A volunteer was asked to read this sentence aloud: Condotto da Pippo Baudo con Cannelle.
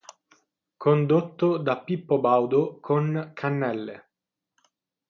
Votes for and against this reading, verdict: 3, 3, rejected